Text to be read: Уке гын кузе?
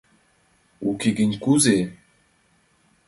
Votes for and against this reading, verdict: 2, 0, accepted